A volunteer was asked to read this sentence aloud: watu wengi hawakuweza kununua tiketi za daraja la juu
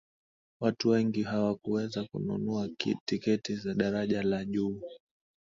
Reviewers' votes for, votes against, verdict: 0, 2, rejected